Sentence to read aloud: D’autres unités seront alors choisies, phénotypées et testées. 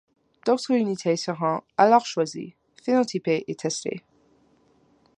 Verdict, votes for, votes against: accepted, 2, 0